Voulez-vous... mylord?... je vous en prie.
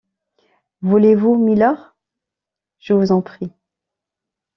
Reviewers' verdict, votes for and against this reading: rejected, 1, 2